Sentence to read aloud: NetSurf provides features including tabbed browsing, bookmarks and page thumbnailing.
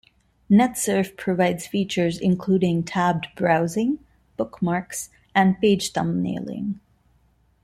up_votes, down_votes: 2, 1